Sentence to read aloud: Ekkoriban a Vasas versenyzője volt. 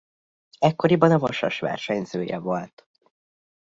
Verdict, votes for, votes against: accepted, 2, 0